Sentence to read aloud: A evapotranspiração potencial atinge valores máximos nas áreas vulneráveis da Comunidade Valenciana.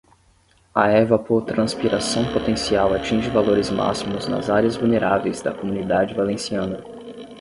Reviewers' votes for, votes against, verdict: 5, 5, rejected